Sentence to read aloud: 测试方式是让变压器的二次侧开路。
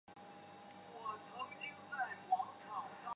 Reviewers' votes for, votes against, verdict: 0, 2, rejected